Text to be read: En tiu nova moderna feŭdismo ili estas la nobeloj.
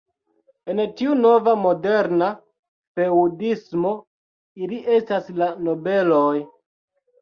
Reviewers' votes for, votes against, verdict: 2, 0, accepted